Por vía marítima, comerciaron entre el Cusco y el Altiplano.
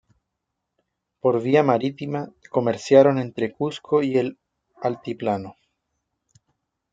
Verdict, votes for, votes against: rejected, 1, 2